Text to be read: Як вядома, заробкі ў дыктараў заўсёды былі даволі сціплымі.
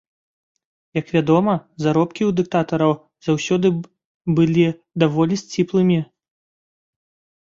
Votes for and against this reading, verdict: 1, 2, rejected